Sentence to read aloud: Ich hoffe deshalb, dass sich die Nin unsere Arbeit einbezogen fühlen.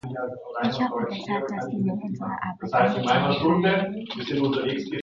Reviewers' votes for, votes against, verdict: 0, 2, rejected